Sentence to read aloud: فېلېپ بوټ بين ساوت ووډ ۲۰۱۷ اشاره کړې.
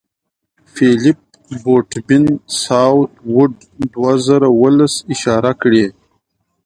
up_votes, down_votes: 0, 2